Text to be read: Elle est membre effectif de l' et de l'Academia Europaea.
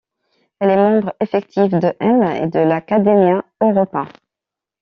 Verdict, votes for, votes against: rejected, 0, 2